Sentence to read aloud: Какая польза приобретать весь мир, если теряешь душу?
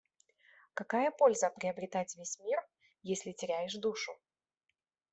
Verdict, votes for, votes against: accepted, 2, 1